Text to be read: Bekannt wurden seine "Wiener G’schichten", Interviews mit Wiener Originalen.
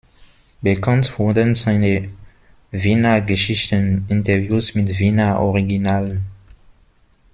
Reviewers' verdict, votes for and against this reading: rejected, 1, 2